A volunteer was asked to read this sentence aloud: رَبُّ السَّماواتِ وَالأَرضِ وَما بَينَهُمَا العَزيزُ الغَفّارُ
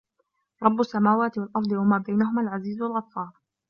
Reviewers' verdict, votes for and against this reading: accepted, 3, 1